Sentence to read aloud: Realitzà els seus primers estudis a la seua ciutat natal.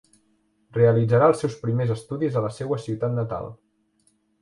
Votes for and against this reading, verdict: 1, 2, rejected